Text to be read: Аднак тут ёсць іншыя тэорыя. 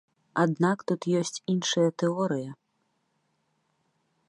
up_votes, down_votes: 2, 0